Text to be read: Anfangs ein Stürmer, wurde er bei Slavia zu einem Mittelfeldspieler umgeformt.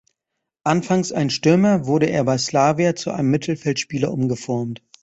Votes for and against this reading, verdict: 2, 0, accepted